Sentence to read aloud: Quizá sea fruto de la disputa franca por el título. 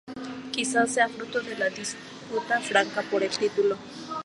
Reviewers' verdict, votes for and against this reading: rejected, 0, 4